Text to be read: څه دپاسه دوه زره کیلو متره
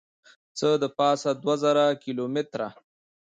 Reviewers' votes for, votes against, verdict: 2, 0, accepted